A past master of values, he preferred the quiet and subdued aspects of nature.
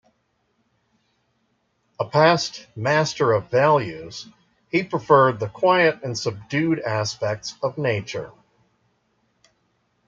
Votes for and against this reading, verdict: 2, 0, accepted